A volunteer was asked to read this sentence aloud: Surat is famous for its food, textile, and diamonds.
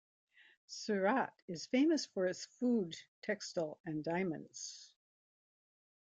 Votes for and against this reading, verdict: 2, 0, accepted